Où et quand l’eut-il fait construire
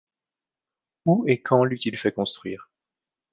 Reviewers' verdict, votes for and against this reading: accepted, 2, 0